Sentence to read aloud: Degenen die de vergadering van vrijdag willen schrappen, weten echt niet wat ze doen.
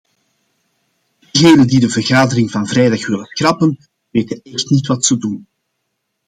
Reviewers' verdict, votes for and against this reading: rejected, 1, 2